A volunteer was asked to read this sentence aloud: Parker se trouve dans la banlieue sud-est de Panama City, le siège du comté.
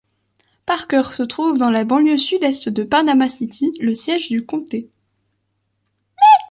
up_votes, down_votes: 0, 2